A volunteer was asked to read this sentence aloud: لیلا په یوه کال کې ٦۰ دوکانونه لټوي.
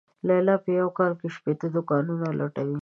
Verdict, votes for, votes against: rejected, 0, 2